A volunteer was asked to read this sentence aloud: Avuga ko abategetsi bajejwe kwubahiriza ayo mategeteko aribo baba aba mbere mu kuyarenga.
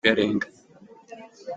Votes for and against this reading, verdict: 0, 2, rejected